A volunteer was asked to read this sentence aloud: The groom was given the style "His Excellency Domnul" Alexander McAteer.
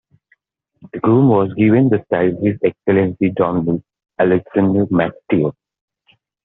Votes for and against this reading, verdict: 0, 2, rejected